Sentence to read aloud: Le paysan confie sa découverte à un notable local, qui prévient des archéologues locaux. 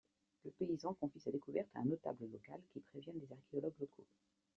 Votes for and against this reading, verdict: 2, 1, accepted